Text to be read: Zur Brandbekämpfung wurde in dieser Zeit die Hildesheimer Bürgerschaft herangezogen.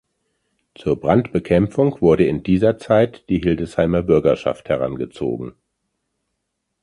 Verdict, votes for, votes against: accepted, 2, 0